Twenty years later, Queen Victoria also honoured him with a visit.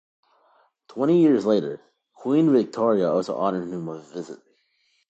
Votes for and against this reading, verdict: 2, 0, accepted